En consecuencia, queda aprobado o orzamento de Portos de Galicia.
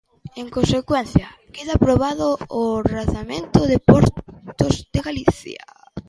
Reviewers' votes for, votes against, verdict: 0, 2, rejected